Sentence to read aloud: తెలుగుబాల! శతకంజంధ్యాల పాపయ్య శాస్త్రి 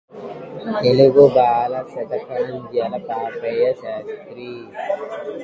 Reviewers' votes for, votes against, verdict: 0, 2, rejected